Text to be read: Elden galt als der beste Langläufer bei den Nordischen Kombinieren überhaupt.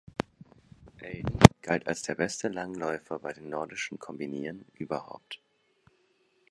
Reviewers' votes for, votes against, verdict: 2, 4, rejected